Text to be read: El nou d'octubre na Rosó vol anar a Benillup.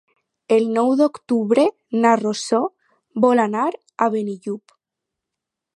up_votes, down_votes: 2, 0